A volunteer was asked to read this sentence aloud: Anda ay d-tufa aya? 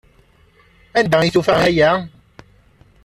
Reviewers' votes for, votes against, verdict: 1, 2, rejected